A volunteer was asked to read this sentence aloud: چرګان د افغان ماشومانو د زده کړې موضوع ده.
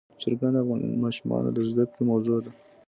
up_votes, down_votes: 2, 0